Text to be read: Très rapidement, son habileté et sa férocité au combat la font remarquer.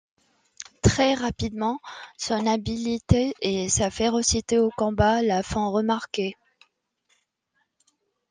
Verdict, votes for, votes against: rejected, 1, 2